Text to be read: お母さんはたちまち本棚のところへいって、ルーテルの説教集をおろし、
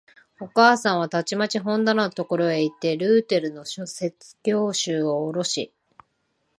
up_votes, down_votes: 1, 3